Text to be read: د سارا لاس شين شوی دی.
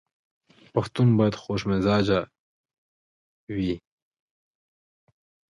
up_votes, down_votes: 0, 2